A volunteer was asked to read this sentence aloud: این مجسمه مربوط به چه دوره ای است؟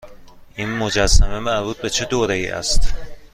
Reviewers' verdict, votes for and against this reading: accepted, 2, 0